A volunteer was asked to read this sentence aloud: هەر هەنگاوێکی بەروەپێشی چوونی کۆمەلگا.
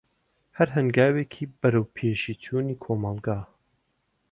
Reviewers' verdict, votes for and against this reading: accepted, 2, 0